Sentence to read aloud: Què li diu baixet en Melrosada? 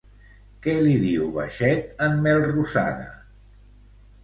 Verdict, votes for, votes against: accepted, 2, 0